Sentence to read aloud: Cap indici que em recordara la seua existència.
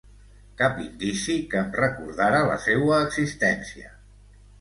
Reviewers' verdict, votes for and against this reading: accepted, 2, 0